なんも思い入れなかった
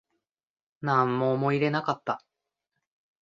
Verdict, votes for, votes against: accepted, 2, 0